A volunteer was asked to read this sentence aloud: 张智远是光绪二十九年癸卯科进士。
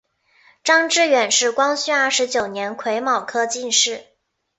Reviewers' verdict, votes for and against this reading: accepted, 7, 2